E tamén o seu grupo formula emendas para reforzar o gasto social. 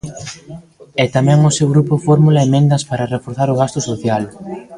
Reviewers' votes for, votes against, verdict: 0, 2, rejected